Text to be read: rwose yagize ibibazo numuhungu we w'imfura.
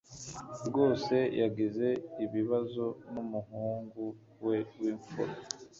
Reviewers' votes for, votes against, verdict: 2, 0, accepted